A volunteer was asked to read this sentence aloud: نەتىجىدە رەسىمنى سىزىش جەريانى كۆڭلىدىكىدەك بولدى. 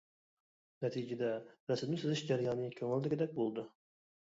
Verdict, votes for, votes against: rejected, 1, 2